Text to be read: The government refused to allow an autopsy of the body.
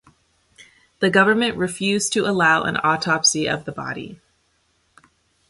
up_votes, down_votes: 2, 0